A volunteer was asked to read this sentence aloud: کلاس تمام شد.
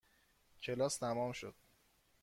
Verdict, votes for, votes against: accepted, 2, 0